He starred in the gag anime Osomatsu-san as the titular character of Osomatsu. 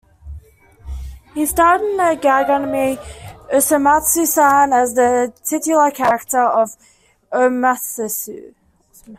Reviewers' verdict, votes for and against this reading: rejected, 0, 2